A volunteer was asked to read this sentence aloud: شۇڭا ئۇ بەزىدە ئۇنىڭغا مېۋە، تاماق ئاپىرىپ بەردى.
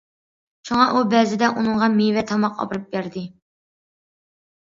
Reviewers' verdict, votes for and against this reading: accepted, 2, 0